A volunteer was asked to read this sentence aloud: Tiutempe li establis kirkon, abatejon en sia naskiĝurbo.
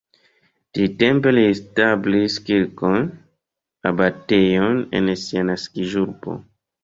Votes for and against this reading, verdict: 1, 2, rejected